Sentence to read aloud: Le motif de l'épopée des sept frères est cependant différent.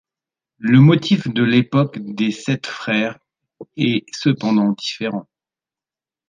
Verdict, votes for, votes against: rejected, 0, 2